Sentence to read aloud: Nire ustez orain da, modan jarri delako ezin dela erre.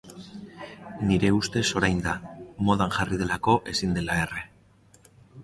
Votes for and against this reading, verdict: 3, 0, accepted